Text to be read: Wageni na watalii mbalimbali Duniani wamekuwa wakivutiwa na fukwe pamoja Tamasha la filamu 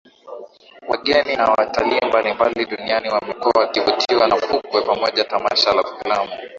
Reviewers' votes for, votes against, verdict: 2, 1, accepted